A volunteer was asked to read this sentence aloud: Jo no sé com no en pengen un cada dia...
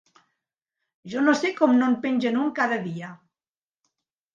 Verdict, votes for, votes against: accepted, 3, 0